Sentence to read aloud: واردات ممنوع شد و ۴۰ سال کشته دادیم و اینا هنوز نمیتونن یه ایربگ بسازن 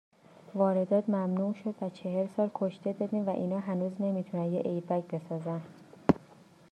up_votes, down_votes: 0, 2